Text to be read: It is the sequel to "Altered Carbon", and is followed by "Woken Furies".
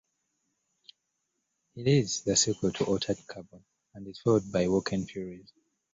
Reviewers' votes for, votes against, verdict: 1, 2, rejected